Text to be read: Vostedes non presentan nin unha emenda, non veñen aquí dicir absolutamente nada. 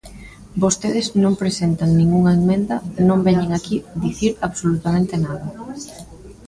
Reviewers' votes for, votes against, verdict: 1, 2, rejected